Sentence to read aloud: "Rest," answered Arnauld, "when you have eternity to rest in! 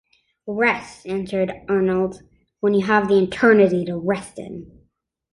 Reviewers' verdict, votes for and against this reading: accepted, 2, 0